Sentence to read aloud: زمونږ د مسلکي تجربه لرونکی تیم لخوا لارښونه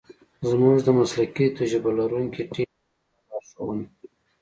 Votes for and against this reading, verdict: 2, 0, accepted